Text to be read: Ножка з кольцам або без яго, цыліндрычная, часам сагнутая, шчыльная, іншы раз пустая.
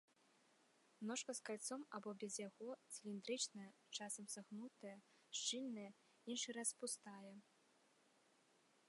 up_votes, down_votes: 1, 2